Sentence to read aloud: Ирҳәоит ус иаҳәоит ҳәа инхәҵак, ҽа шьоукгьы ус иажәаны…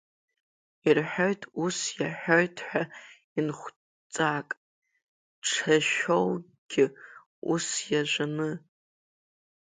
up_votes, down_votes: 0, 2